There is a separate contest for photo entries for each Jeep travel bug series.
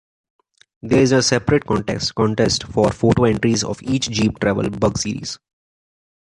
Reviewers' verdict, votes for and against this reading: rejected, 1, 2